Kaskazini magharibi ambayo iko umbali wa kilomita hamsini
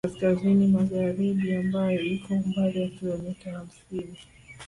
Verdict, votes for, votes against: rejected, 1, 2